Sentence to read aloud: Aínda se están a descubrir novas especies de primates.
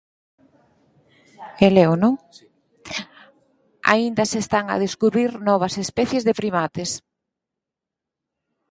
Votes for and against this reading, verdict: 0, 4, rejected